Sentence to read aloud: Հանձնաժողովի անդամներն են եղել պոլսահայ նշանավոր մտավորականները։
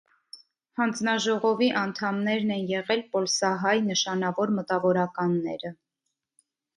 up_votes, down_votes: 2, 0